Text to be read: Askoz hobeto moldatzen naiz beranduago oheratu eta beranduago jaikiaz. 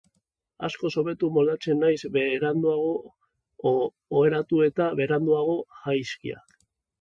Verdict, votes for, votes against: rejected, 0, 2